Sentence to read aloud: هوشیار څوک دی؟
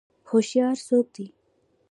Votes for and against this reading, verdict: 2, 0, accepted